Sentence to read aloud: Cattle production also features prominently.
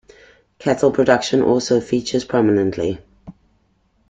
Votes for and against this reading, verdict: 2, 0, accepted